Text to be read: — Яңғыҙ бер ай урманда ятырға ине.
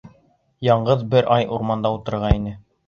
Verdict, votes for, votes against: rejected, 1, 2